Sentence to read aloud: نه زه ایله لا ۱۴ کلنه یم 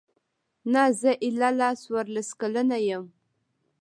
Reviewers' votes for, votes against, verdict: 0, 2, rejected